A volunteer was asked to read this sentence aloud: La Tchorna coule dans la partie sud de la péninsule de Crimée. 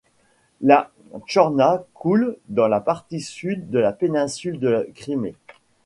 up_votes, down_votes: 0, 2